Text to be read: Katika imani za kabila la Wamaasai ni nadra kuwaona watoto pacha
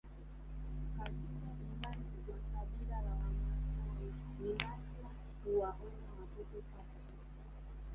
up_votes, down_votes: 2, 0